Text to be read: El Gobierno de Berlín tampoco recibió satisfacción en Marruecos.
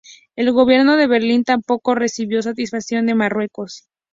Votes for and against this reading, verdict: 0, 2, rejected